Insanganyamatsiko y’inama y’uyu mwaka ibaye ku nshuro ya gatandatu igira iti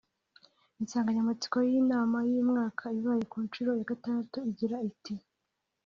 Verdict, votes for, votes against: accepted, 2, 0